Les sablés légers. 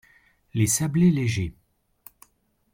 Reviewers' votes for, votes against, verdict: 2, 0, accepted